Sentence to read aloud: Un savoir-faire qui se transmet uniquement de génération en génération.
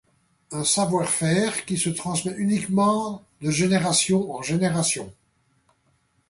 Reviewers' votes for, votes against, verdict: 2, 0, accepted